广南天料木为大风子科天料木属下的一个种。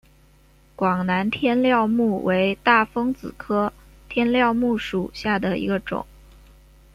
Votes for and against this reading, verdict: 2, 0, accepted